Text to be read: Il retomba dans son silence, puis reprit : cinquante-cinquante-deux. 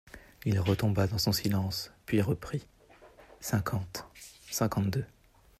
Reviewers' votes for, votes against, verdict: 2, 1, accepted